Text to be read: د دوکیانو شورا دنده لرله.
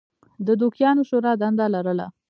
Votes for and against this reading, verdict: 1, 2, rejected